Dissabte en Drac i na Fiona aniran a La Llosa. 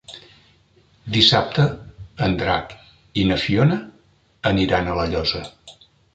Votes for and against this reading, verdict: 2, 0, accepted